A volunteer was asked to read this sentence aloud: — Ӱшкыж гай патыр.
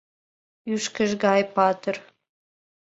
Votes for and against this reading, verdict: 2, 0, accepted